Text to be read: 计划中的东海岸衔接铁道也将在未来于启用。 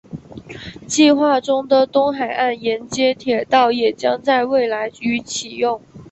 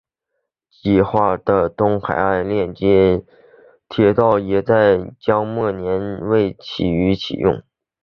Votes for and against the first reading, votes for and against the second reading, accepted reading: 2, 0, 1, 2, first